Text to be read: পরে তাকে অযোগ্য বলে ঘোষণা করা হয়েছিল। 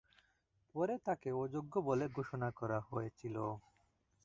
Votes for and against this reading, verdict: 0, 2, rejected